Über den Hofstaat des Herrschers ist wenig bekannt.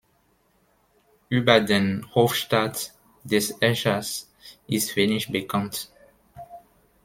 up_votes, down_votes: 1, 2